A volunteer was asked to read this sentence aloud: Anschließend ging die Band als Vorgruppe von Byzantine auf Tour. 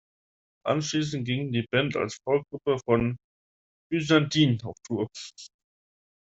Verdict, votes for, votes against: rejected, 1, 3